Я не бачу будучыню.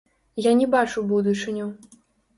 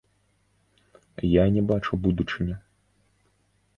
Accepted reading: second